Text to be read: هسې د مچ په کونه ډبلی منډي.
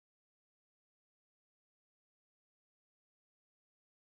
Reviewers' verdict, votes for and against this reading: rejected, 0, 2